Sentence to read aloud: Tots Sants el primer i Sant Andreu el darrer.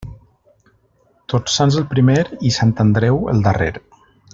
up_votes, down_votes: 3, 1